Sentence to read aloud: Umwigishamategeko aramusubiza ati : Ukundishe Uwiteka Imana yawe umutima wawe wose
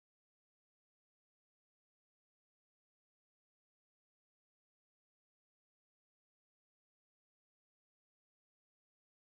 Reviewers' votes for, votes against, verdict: 0, 2, rejected